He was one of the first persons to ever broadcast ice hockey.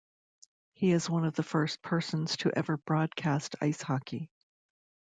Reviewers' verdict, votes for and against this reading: rejected, 0, 2